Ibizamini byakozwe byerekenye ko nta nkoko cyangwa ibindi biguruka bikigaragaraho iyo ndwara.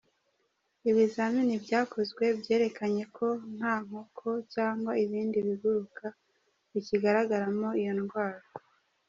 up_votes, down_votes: 0, 2